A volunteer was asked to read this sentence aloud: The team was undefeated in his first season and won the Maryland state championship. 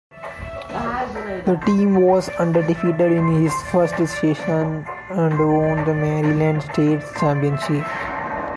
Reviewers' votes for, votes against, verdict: 1, 2, rejected